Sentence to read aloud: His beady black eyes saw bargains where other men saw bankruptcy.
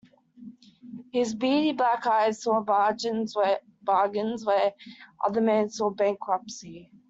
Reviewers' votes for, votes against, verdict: 1, 2, rejected